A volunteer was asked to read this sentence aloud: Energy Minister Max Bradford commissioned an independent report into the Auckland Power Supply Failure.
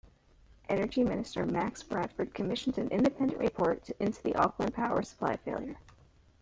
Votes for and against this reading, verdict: 1, 2, rejected